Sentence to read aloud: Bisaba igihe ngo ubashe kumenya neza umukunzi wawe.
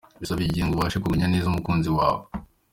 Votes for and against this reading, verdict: 2, 0, accepted